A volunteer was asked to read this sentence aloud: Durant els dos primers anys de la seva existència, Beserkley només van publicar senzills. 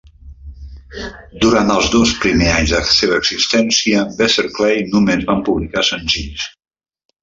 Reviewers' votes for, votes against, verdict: 0, 2, rejected